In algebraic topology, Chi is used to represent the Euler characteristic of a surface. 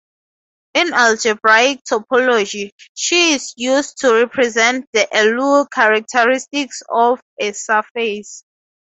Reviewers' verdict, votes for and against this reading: accepted, 4, 0